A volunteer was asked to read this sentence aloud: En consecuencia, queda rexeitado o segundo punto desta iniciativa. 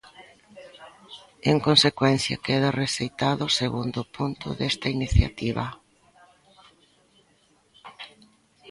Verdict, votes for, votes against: rejected, 0, 2